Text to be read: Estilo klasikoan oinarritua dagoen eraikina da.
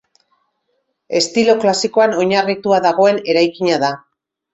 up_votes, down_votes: 2, 0